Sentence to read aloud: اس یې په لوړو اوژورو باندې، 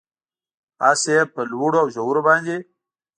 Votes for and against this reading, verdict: 2, 0, accepted